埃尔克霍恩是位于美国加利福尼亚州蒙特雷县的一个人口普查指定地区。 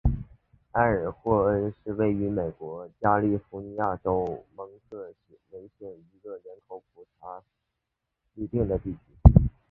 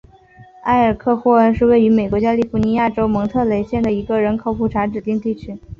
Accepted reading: second